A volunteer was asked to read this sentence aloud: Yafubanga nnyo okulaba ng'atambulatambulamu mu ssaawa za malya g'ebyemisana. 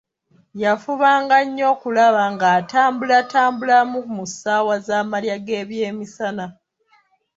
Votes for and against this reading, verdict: 2, 1, accepted